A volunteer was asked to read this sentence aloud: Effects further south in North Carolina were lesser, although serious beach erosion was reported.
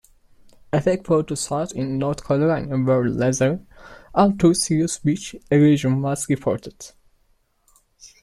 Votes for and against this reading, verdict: 0, 2, rejected